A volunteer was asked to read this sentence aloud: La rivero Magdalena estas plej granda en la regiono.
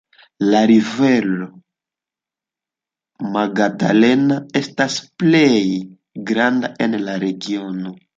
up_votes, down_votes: 2, 1